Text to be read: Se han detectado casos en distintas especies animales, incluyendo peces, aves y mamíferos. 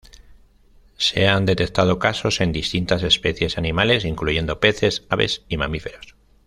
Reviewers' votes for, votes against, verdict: 2, 0, accepted